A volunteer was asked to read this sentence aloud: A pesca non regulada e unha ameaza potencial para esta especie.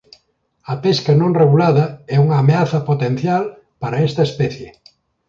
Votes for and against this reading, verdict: 1, 2, rejected